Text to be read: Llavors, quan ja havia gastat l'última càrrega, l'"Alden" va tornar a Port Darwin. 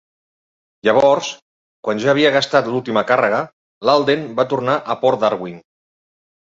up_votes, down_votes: 2, 0